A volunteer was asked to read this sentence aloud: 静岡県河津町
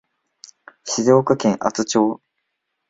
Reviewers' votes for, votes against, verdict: 0, 2, rejected